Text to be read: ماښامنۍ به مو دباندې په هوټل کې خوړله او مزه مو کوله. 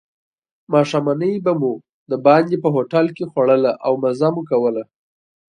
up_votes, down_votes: 2, 0